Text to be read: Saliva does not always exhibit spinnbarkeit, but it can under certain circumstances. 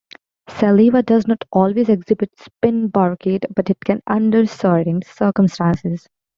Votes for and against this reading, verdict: 1, 2, rejected